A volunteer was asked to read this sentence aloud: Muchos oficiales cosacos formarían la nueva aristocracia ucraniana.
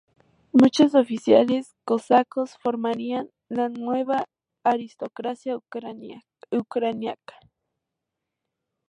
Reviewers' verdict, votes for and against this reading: rejected, 0, 2